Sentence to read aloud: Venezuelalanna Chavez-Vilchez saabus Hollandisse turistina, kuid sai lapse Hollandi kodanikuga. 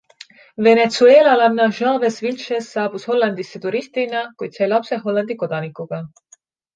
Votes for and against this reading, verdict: 2, 0, accepted